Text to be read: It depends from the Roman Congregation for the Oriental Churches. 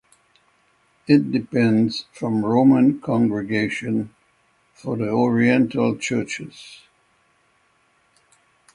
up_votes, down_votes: 3, 3